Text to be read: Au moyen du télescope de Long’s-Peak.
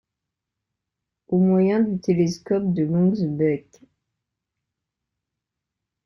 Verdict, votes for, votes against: rejected, 0, 2